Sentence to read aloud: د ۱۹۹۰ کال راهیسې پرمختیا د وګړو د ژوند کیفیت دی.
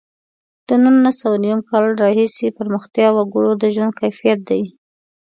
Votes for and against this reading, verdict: 0, 2, rejected